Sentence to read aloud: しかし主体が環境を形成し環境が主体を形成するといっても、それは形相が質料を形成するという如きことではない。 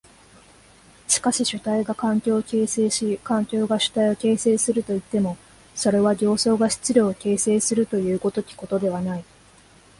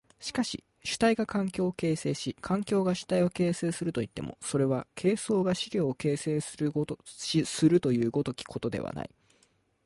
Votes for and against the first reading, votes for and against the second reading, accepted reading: 2, 1, 0, 2, first